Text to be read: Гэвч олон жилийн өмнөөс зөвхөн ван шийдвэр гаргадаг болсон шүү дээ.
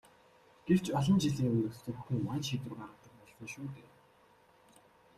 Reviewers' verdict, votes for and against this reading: rejected, 1, 2